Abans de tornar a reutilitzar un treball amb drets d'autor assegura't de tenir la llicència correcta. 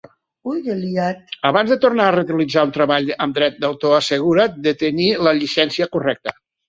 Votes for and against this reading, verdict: 0, 2, rejected